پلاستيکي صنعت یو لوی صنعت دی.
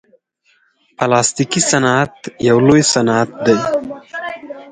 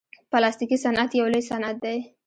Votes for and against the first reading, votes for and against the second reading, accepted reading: 4, 2, 1, 2, first